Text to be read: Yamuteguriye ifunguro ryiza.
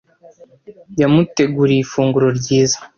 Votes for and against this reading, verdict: 2, 0, accepted